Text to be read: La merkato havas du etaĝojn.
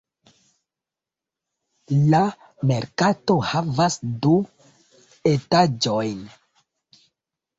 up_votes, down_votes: 2, 0